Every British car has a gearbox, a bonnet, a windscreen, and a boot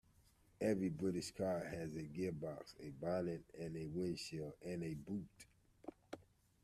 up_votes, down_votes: 1, 2